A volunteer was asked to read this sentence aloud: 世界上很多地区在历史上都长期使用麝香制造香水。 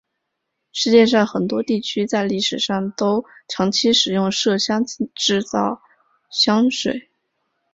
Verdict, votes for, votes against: accepted, 2, 1